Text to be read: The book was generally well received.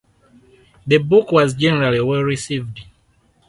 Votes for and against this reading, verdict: 4, 0, accepted